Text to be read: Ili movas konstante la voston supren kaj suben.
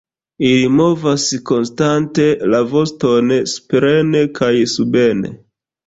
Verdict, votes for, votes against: rejected, 1, 2